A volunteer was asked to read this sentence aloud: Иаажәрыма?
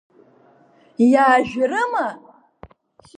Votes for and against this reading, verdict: 2, 0, accepted